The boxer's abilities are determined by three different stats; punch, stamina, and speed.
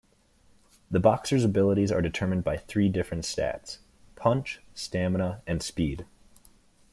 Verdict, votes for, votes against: accepted, 2, 0